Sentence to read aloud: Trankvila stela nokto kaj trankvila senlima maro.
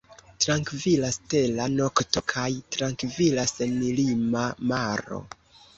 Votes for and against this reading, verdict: 2, 1, accepted